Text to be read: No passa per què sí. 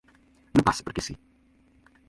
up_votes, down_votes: 1, 4